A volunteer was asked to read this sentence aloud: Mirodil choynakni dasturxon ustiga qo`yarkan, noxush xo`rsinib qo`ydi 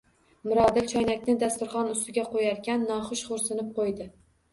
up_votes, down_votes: 1, 2